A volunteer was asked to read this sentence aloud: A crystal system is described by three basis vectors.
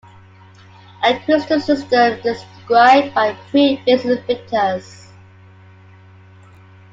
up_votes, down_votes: 1, 2